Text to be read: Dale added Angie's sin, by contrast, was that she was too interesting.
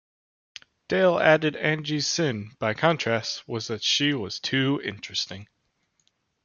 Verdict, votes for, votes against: accepted, 2, 0